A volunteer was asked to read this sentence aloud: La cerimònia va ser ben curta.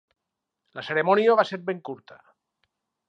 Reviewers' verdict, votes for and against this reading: accepted, 4, 0